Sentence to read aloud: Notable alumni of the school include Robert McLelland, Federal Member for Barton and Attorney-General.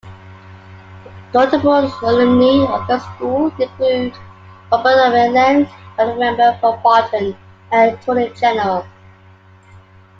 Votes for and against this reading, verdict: 2, 0, accepted